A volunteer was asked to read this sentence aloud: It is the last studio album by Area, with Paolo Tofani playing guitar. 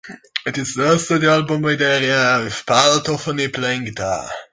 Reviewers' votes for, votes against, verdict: 2, 3, rejected